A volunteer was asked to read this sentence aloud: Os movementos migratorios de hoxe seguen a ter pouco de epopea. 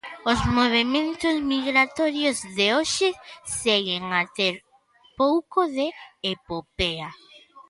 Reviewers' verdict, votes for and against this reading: accepted, 2, 0